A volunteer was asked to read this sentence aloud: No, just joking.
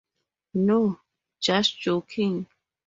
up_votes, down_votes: 0, 4